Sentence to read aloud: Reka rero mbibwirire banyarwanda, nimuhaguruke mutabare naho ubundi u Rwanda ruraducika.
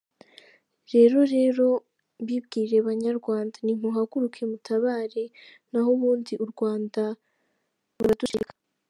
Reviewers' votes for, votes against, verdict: 2, 3, rejected